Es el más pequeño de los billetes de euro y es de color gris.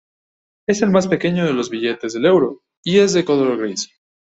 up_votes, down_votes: 0, 2